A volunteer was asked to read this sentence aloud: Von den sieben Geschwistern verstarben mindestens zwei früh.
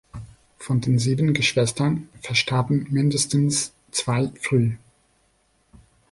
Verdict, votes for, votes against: accepted, 2, 0